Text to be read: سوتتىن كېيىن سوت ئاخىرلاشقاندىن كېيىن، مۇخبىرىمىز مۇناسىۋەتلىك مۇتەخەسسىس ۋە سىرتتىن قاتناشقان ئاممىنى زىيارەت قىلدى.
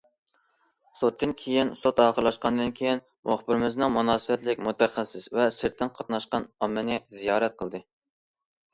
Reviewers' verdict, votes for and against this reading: rejected, 0, 2